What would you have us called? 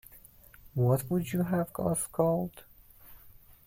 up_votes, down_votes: 0, 2